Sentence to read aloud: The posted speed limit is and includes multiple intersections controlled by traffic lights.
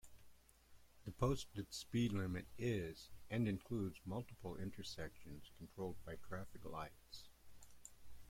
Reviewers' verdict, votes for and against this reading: rejected, 1, 2